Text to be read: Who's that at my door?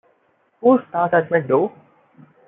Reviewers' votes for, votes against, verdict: 0, 2, rejected